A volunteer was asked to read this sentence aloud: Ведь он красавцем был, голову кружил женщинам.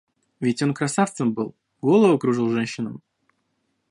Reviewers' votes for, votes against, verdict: 2, 0, accepted